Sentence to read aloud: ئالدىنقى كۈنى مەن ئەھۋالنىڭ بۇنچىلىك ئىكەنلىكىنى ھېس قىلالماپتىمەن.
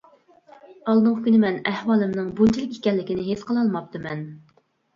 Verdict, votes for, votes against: rejected, 1, 2